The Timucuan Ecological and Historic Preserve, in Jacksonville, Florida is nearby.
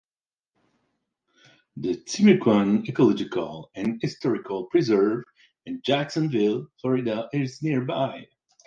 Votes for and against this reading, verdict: 2, 0, accepted